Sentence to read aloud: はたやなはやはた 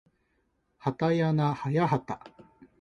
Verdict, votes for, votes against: accepted, 2, 0